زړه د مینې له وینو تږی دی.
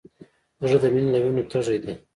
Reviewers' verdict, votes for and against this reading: accepted, 2, 0